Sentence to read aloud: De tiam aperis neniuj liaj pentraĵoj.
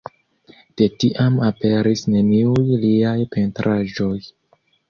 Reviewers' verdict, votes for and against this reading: accepted, 2, 1